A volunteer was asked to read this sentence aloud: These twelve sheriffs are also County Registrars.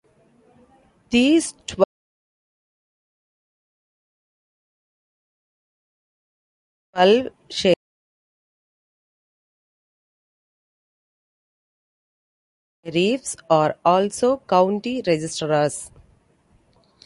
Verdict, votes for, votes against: rejected, 0, 2